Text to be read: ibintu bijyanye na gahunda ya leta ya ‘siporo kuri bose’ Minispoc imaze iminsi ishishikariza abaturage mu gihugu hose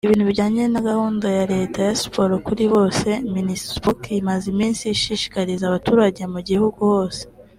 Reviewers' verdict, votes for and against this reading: accepted, 3, 0